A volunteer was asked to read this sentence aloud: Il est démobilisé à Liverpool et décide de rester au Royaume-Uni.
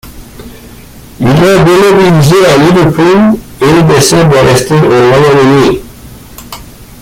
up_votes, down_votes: 1, 2